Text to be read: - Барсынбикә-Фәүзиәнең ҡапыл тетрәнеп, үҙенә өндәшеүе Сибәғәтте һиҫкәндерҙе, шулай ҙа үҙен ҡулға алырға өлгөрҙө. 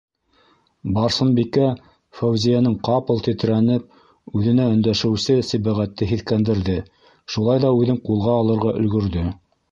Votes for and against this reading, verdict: 1, 2, rejected